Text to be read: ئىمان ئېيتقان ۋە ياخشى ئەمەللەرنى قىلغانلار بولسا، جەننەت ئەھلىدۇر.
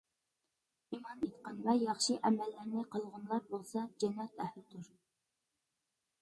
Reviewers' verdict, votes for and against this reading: rejected, 1, 2